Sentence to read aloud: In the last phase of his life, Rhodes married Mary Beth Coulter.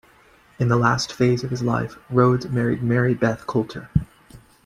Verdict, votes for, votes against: accepted, 3, 0